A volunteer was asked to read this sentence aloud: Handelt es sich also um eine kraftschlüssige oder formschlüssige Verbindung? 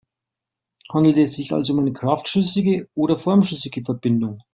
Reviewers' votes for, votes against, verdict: 2, 0, accepted